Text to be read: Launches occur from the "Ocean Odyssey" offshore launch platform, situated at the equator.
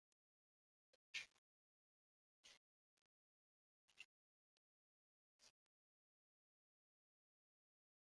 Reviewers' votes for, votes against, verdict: 0, 2, rejected